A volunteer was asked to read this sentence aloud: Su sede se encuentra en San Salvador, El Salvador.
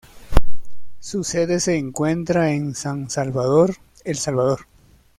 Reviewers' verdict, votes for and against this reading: accepted, 2, 0